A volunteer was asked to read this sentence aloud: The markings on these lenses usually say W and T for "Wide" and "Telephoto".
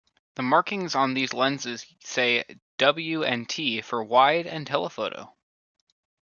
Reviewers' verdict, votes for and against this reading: rejected, 1, 2